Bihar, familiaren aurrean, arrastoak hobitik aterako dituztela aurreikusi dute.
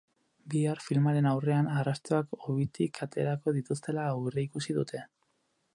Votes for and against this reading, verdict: 8, 10, rejected